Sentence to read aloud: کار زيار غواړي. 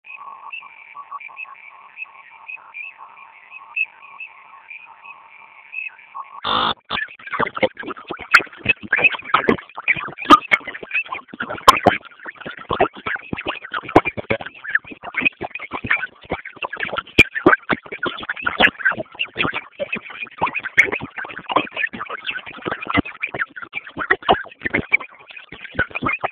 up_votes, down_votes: 0, 2